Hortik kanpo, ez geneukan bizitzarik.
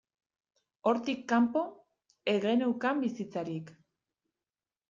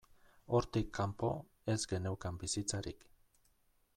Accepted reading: second